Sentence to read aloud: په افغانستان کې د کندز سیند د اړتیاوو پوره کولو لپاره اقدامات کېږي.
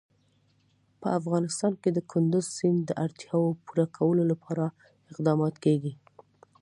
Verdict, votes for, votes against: accepted, 2, 0